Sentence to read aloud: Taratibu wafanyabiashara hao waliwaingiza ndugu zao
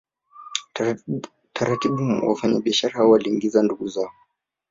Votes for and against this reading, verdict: 1, 3, rejected